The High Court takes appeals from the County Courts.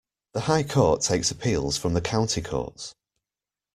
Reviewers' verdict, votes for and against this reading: accepted, 2, 0